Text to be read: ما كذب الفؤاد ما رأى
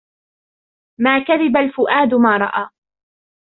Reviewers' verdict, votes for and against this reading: accepted, 3, 2